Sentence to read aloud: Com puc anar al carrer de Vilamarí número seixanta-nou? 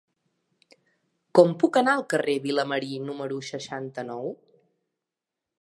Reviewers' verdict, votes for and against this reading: accepted, 3, 2